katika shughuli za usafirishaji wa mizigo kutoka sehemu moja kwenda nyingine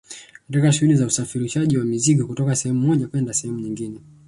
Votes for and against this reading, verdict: 0, 2, rejected